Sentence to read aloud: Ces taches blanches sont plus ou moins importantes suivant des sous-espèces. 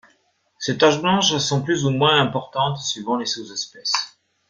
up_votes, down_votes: 2, 0